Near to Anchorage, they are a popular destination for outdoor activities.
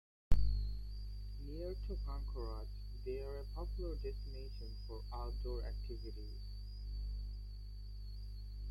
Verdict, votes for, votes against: rejected, 0, 2